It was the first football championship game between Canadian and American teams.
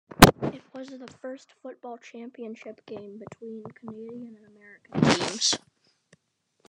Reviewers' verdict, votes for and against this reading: rejected, 0, 2